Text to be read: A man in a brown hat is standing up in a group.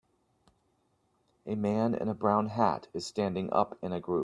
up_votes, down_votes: 3, 0